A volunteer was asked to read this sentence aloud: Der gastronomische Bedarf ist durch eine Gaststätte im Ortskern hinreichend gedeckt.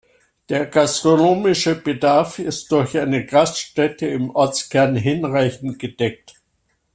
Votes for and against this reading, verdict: 2, 0, accepted